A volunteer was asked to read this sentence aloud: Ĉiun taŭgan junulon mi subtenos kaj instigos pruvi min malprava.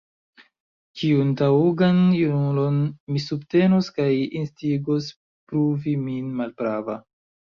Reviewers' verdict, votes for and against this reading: accepted, 2, 0